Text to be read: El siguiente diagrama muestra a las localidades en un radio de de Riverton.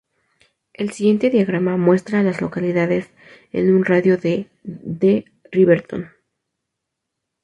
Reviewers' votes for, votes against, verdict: 2, 2, rejected